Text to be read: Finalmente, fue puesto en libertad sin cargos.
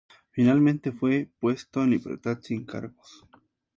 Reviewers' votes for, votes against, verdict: 2, 0, accepted